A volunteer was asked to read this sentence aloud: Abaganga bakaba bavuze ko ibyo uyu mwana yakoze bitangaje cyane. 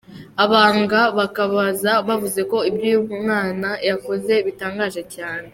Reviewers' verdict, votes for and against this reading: accepted, 2, 0